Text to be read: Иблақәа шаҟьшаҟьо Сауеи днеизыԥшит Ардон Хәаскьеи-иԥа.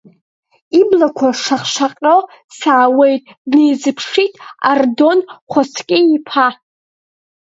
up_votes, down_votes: 1, 2